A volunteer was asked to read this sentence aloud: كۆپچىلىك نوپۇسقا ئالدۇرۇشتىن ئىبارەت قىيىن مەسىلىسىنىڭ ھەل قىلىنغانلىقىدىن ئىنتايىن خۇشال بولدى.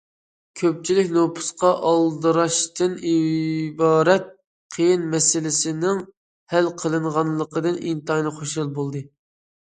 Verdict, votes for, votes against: rejected, 0, 2